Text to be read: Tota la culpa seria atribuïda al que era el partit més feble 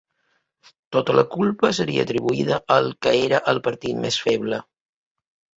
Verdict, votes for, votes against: accepted, 2, 0